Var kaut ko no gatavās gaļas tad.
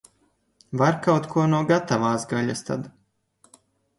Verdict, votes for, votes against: accepted, 2, 0